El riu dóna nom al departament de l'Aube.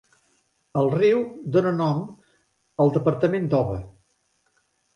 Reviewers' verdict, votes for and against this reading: rejected, 0, 2